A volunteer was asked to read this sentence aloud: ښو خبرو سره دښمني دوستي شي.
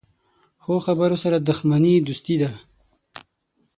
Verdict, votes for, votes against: rejected, 3, 6